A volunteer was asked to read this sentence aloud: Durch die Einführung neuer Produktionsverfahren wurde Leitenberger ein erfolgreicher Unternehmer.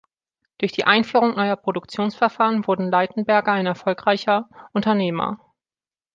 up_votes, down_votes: 1, 2